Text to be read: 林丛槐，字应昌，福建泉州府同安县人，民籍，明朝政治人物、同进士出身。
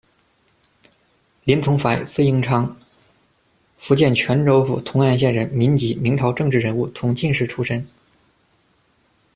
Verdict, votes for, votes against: accepted, 2, 0